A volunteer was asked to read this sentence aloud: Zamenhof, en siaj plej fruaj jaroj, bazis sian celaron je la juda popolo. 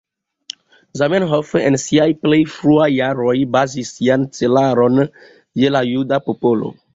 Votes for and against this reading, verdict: 2, 0, accepted